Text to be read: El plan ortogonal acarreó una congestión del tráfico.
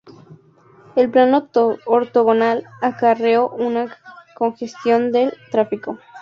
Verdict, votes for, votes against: rejected, 2, 2